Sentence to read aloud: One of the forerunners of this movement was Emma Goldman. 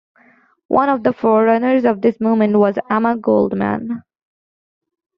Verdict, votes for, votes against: rejected, 0, 2